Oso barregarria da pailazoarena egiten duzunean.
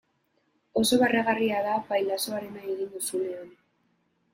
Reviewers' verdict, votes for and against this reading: rejected, 1, 2